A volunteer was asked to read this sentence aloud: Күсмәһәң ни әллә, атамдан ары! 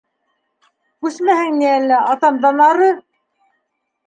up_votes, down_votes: 3, 0